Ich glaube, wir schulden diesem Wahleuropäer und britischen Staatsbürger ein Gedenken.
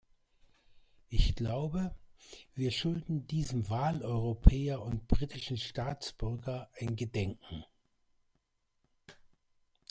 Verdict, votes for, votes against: accepted, 2, 0